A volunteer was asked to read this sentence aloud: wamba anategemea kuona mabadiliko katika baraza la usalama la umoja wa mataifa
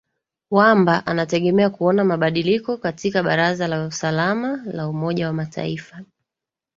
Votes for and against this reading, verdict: 2, 0, accepted